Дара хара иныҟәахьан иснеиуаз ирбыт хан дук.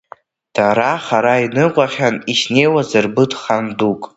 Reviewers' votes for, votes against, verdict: 0, 2, rejected